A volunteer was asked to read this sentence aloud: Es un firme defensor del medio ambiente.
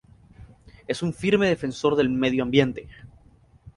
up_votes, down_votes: 2, 0